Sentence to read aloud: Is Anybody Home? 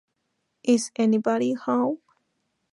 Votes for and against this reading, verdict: 2, 4, rejected